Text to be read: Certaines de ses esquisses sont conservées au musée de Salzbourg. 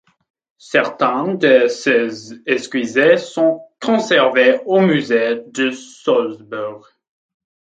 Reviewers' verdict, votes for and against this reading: rejected, 0, 2